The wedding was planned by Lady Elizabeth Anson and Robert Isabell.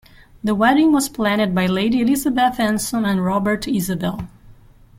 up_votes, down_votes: 0, 2